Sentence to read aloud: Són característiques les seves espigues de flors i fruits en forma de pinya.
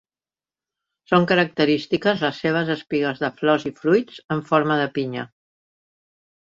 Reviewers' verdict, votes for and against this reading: accepted, 4, 0